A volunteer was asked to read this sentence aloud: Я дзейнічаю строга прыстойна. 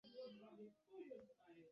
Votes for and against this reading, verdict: 2, 1, accepted